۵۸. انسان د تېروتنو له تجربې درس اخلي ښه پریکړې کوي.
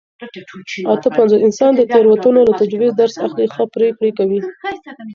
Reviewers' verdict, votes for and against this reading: rejected, 0, 2